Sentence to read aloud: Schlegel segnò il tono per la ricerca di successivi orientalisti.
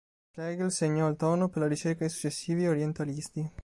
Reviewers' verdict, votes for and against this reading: rejected, 1, 2